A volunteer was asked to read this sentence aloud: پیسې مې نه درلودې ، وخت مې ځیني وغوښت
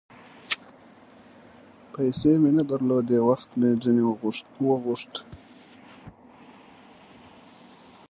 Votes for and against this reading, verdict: 1, 2, rejected